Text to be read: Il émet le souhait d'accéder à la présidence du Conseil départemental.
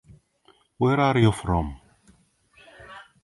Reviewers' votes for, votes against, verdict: 0, 2, rejected